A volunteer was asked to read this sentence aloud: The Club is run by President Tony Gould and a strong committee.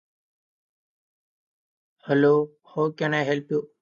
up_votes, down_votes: 0, 2